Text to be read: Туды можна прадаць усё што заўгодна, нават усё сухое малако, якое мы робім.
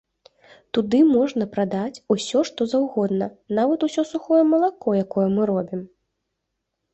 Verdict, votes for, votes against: accepted, 2, 0